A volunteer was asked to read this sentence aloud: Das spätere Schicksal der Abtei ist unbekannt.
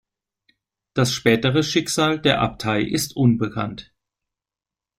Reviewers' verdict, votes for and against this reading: accepted, 2, 0